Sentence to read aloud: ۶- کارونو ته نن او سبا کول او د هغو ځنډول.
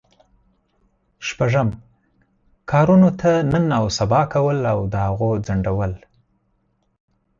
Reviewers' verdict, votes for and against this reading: rejected, 0, 2